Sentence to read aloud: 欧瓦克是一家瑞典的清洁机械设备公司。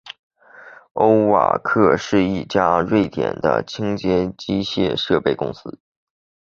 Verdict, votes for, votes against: accepted, 7, 0